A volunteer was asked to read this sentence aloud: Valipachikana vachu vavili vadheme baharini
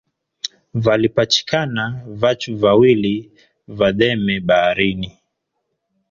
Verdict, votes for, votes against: rejected, 1, 2